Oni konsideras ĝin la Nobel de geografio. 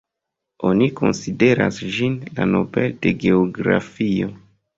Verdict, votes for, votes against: accepted, 2, 0